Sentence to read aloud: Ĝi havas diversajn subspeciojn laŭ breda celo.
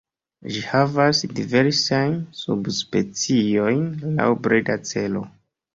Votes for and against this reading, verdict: 1, 2, rejected